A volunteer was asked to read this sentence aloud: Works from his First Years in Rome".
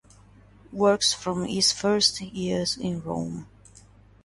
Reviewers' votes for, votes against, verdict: 2, 0, accepted